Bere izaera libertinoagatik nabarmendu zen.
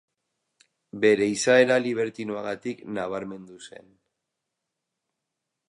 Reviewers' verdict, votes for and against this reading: accepted, 2, 0